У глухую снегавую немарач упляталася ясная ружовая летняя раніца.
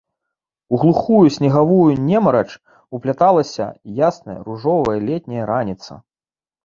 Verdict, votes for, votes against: accepted, 2, 0